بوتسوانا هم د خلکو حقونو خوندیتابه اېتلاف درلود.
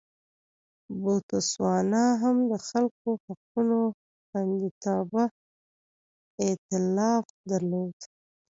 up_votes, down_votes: 1, 2